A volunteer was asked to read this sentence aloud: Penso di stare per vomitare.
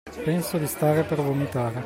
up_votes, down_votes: 2, 1